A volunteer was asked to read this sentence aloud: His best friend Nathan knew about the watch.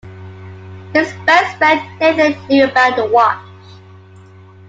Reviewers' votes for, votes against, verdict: 2, 0, accepted